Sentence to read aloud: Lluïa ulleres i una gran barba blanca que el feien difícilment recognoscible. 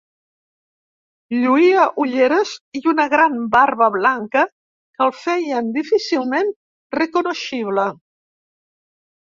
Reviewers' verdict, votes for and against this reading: rejected, 0, 2